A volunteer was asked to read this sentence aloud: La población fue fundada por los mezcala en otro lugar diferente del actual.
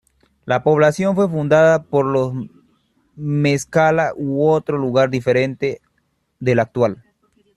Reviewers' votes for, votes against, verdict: 1, 2, rejected